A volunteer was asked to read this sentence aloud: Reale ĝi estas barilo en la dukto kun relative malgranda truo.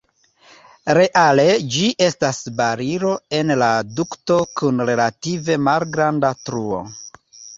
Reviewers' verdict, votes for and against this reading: accepted, 2, 1